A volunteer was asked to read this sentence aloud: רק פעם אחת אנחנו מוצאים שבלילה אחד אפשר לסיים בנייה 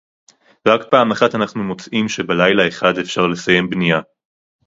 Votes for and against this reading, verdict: 2, 2, rejected